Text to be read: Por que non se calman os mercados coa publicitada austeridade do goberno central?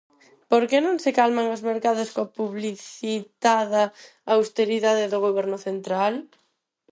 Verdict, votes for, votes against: accepted, 4, 2